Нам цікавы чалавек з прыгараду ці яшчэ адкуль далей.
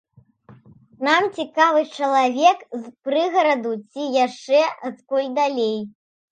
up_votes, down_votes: 2, 0